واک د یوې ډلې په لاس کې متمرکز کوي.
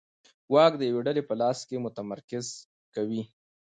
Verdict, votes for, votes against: accepted, 2, 0